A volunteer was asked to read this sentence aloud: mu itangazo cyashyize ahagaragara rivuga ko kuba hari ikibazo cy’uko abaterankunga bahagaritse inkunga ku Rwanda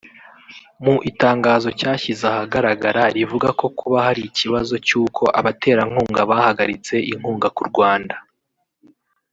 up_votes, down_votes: 0, 2